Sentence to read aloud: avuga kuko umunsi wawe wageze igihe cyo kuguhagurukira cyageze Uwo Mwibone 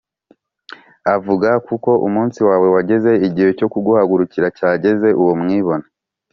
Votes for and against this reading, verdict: 2, 0, accepted